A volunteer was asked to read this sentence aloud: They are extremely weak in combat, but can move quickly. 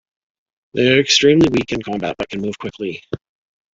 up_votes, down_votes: 2, 1